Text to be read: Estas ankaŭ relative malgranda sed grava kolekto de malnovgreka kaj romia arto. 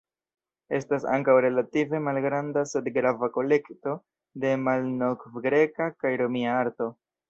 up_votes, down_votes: 2, 0